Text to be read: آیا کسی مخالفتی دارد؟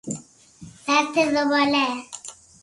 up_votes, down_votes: 0, 6